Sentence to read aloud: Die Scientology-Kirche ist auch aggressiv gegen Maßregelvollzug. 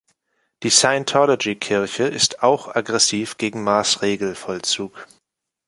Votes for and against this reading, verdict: 2, 0, accepted